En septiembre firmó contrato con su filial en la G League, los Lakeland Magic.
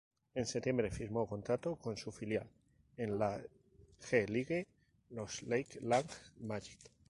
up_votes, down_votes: 0, 2